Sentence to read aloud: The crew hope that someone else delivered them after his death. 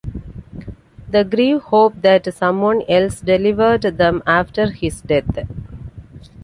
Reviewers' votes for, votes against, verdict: 1, 2, rejected